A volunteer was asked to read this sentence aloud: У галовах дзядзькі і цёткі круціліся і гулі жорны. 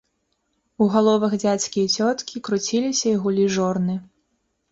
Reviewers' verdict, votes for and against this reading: accepted, 3, 0